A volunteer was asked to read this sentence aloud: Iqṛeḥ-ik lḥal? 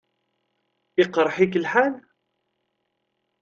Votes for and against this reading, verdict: 2, 0, accepted